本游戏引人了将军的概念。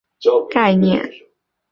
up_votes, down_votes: 0, 3